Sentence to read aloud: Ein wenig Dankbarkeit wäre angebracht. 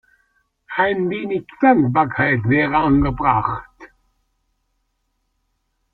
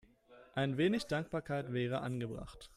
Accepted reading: second